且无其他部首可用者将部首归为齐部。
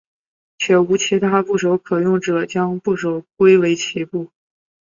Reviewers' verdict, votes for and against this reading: accepted, 4, 0